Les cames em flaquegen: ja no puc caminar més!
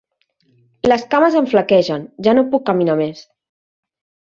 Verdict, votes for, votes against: accepted, 3, 0